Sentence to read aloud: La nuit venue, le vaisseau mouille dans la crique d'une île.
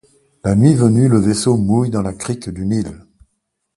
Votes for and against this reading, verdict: 2, 0, accepted